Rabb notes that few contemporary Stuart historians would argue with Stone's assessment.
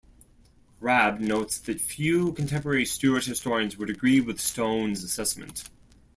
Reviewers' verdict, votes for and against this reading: rejected, 0, 2